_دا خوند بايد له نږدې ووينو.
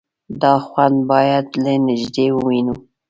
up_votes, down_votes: 2, 1